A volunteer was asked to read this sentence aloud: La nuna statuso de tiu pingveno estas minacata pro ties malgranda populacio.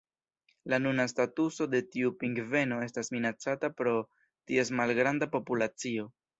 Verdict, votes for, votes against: accepted, 2, 0